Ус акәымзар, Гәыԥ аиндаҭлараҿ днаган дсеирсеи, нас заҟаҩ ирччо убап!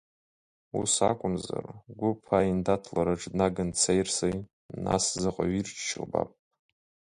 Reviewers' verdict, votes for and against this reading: rejected, 0, 2